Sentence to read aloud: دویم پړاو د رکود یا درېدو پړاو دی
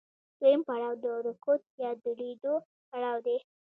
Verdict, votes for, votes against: rejected, 0, 2